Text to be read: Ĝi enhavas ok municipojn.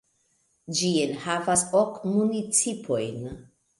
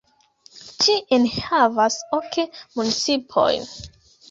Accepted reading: first